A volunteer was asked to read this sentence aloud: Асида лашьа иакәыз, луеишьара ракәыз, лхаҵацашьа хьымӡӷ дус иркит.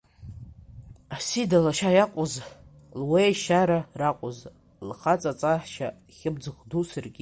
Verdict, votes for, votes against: rejected, 0, 2